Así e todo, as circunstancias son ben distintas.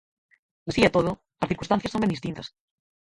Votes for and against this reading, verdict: 0, 6, rejected